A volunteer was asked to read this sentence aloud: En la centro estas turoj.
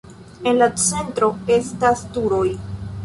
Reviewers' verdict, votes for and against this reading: accepted, 2, 1